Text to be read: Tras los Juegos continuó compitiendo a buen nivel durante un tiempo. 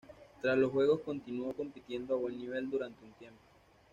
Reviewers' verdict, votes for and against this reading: rejected, 1, 2